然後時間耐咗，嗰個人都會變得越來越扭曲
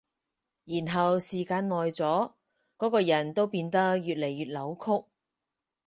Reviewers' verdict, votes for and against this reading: accepted, 4, 0